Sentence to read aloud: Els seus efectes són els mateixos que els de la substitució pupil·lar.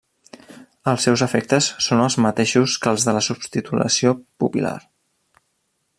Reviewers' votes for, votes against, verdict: 0, 2, rejected